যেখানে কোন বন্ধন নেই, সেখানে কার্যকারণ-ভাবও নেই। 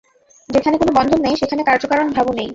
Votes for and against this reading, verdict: 0, 2, rejected